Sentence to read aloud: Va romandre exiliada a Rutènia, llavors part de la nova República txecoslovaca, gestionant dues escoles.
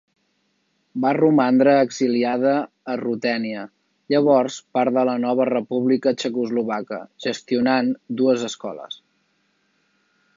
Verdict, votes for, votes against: accepted, 2, 0